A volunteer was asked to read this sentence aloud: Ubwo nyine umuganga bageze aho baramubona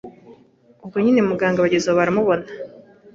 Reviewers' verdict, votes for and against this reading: accepted, 2, 0